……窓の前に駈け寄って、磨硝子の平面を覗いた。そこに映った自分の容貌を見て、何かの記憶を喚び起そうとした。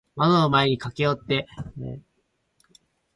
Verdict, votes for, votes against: rejected, 0, 4